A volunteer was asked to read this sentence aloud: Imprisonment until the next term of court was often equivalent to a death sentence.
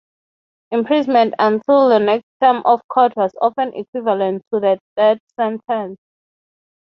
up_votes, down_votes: 3, 0